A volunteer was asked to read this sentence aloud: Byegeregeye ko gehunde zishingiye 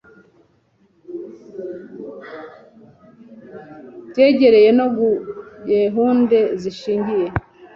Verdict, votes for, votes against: rejected, 1, 2